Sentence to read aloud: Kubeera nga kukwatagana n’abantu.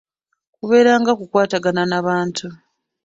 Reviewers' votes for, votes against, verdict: 2, 0, accepted